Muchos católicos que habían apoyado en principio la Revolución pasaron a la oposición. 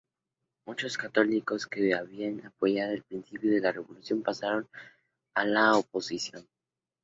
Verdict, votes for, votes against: accepted, 2, 0